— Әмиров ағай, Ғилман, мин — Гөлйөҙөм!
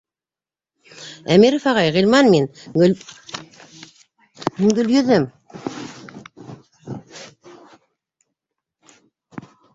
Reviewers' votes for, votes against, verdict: 0, 2, rejected